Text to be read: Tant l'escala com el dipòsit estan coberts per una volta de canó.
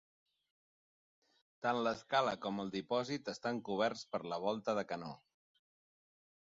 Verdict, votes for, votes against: rejected, 0, 6